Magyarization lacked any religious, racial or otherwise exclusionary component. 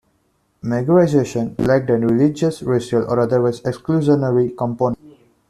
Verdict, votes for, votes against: rejected, 0, 2